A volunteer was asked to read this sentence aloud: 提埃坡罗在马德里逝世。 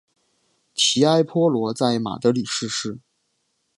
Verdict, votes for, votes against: accepted, 2, 0